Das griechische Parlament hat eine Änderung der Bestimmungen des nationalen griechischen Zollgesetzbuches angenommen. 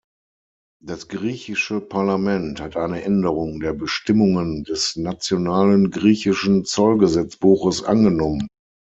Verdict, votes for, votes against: accepted, 6, 0